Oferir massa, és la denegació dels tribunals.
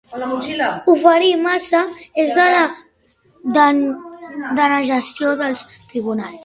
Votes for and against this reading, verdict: 0, 2, rejected